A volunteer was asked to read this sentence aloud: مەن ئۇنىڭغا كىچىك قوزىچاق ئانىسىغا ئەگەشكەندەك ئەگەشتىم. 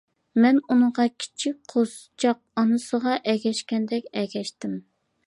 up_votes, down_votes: 2, 0